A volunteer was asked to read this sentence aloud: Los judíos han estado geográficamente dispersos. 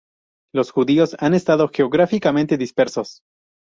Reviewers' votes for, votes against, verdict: 0, 2, rejected